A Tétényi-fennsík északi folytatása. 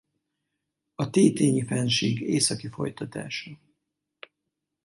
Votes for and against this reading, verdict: 4, 0, accepted